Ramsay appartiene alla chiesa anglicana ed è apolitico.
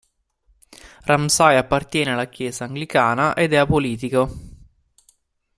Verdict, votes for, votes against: accepted, 2, 0